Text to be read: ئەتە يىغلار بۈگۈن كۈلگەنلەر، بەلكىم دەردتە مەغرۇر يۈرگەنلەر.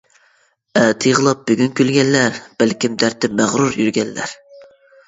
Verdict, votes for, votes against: rejected, 0, 2